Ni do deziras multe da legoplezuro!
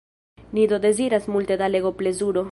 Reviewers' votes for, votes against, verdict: 0, 2, rejected